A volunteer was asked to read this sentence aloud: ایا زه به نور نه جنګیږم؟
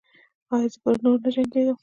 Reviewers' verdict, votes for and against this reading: rejected, 1, 2